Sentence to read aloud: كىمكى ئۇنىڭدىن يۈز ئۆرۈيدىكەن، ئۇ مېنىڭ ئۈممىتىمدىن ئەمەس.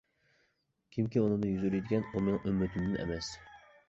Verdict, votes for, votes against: rejected, 0, 2